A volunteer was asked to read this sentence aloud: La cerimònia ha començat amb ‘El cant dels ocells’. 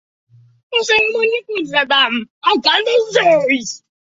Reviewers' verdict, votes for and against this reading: rejected, 0, 2